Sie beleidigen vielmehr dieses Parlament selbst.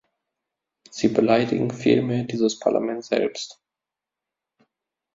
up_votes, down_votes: 2, 0